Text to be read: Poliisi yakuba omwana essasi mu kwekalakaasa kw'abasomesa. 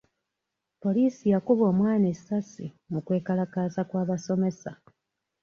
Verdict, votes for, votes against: accepted, 2, 0